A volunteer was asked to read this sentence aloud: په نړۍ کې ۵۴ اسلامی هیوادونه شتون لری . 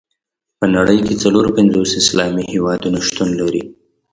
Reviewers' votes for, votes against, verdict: 0, 2, rejected